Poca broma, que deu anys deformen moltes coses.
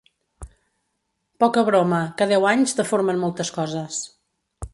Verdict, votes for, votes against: accepted, 4, 0